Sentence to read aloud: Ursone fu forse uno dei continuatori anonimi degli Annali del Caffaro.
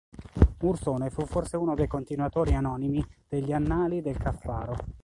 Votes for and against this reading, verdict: 2, 0, accepted